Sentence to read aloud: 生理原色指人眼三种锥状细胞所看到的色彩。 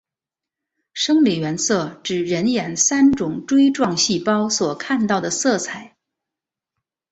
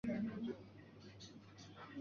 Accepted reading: first